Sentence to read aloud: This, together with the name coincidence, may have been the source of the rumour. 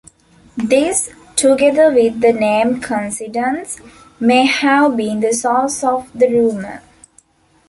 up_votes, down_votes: 2, 0